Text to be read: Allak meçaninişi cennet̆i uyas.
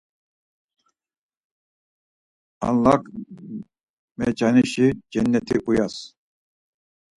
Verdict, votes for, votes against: rejected, 0, 4